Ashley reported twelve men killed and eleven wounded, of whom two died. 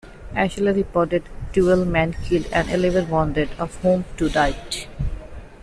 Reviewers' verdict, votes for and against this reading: accepted, 2, 1